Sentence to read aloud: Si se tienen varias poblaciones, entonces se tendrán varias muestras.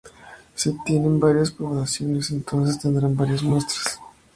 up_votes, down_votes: 2, 0